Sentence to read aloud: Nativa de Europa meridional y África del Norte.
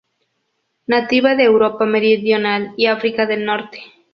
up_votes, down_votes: 0, 2